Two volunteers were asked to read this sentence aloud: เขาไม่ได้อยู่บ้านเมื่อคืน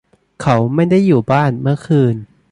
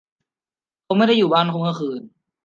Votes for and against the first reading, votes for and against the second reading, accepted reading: 2, 0, 0, 2, first